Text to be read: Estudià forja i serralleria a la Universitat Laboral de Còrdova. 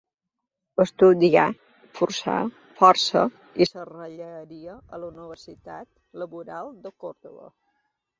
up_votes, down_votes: 1, 2